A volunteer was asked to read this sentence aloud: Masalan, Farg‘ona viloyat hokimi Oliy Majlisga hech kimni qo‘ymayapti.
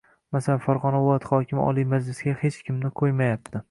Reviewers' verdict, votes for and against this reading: accepted, 2, 0